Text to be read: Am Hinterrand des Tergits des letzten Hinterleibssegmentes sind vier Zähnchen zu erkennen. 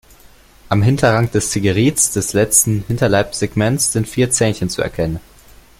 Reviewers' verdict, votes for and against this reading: rejected, 1, 2